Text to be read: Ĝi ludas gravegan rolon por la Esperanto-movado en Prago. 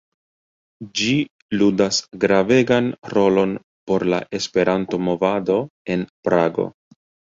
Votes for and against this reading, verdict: 1, 2, rejected